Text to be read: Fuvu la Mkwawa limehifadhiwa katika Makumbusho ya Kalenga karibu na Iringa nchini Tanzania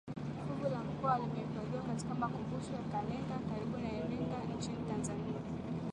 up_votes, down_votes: 2, 1